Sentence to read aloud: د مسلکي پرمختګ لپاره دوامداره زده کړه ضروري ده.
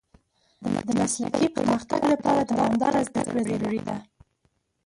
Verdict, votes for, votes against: rejected, 0, 4